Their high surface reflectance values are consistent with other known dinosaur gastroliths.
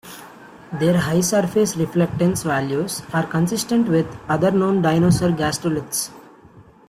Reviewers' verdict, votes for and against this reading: accepted, 2, 0